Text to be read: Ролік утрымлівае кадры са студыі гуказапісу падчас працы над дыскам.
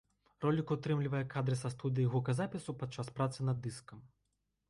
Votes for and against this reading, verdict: 2, 0, accepted